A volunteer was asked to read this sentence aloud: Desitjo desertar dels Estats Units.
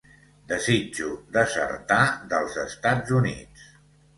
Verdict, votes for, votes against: accepted, 2, 0